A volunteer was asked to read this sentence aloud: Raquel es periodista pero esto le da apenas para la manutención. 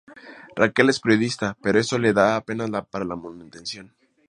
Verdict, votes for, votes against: accepted, 2, 0